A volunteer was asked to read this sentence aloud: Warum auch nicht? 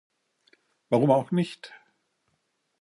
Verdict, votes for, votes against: accepted, 2, 1